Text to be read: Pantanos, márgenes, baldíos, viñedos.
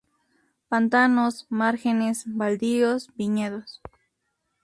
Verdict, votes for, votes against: accepted, 4, 0